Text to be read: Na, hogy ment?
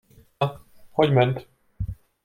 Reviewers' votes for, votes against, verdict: 0, 2, rejected